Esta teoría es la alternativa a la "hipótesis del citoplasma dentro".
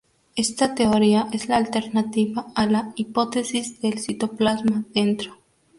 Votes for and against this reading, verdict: 0, 2, rejected